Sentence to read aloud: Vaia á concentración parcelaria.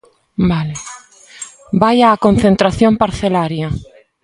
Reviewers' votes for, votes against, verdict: 0, 2, rejected